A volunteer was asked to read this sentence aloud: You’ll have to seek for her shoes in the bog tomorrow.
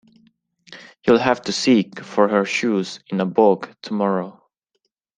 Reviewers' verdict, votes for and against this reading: accepted, 2, 0